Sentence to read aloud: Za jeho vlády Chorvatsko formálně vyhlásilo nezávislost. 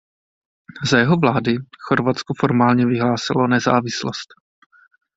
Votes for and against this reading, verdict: 2, 0, accepted